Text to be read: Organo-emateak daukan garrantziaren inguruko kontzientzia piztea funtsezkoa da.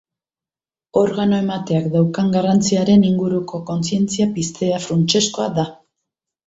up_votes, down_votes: 3, 0